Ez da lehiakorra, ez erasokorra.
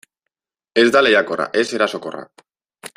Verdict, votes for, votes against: accepted, 2, 0